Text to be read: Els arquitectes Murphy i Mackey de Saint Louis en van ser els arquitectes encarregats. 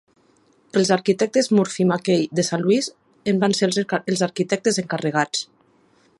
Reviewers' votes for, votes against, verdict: 1, 2, rejected